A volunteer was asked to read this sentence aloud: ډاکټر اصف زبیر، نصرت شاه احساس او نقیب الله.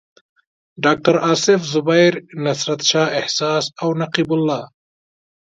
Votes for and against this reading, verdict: 2, 0, accepted